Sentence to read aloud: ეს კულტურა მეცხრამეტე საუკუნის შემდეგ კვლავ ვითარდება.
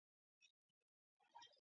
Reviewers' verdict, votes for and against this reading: rejected, 0, 2